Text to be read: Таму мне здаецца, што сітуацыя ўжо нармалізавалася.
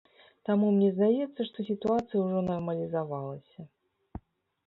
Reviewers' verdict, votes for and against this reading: accepted, 2, 0